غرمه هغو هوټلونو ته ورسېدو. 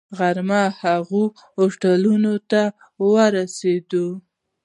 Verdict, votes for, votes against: rejected, 0, 2